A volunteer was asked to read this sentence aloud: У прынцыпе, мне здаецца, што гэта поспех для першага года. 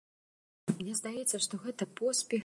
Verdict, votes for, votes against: rejected, 0, 2